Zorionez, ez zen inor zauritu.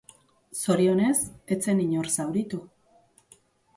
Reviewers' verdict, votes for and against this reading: accepted, 2, 0